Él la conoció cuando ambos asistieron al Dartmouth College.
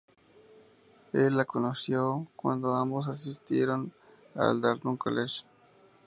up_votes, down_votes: 0, 4